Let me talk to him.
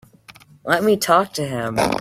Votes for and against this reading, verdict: 2, 1, accepted